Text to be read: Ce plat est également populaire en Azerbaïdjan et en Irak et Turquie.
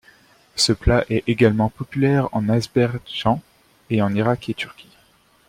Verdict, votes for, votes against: rejected, 0, 2